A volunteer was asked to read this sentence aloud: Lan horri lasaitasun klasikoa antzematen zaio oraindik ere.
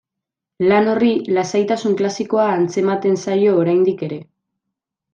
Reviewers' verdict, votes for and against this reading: accepted, 2, 0